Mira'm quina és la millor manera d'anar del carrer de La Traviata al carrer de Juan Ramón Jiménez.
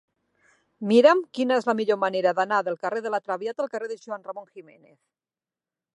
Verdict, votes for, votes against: accepted, 6, 3